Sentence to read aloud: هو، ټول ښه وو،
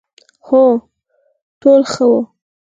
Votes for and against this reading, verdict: 4, 2, accepted